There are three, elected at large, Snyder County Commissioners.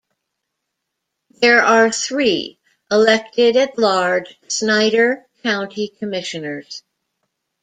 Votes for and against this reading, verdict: 2, 0, accepted